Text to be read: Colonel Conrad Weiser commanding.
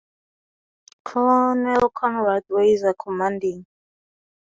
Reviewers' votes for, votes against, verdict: 0, 2, rejected